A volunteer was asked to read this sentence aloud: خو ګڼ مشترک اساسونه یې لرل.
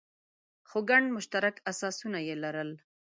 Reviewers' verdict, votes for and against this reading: accepted, 2, 0